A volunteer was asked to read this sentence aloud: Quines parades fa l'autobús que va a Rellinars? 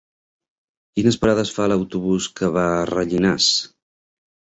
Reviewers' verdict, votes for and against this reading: accepted, 3, 1